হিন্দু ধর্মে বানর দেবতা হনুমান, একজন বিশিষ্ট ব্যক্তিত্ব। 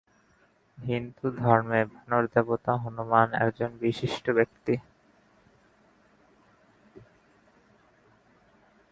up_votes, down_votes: 1, 2